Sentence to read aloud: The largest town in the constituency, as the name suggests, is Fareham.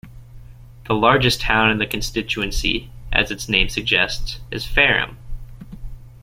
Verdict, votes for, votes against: accepted, 2, 1